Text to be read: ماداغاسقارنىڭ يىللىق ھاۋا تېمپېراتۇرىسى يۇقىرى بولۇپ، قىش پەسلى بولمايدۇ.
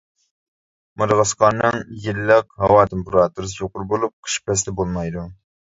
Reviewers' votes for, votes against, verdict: 0, 2, rejected